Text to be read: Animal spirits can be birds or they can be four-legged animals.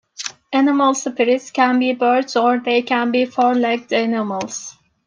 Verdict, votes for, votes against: accepted, 2, 0